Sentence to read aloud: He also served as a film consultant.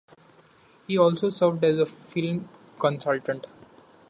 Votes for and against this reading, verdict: 2, 0, accepted